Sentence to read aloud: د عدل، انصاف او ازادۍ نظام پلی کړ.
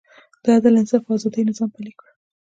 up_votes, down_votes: 2, 1